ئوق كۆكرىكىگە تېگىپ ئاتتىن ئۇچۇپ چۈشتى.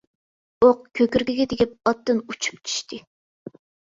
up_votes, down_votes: 2, 0